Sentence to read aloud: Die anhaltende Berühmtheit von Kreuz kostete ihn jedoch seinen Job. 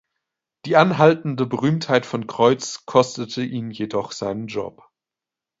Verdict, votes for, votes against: accepted, 2, 0